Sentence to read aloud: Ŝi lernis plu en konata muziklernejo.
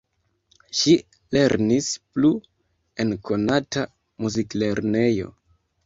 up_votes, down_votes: 1, 2